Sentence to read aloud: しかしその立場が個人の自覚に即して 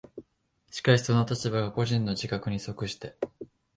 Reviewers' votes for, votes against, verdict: 2, 0, accepted